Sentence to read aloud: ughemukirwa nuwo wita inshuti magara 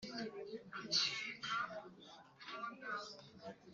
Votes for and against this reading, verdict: 0, 2, rejected